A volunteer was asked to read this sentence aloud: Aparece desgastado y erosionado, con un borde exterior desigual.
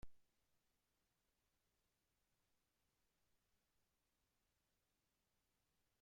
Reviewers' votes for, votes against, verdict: 0, 2, rejected